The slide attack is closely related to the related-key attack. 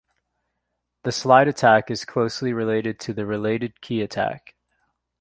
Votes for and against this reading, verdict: 2, 1, accepted